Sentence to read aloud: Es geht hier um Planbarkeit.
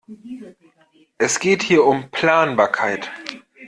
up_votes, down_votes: 2, 0